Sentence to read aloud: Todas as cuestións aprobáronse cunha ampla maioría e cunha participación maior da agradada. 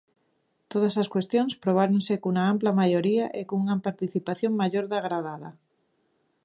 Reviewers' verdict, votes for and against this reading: rejected, 0, 2